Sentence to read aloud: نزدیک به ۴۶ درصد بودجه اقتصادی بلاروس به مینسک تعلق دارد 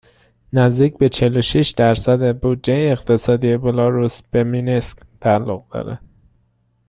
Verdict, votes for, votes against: rejected, 0, 2